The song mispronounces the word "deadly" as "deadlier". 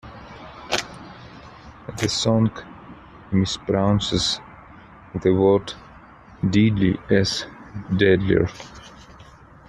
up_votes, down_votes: 1, 2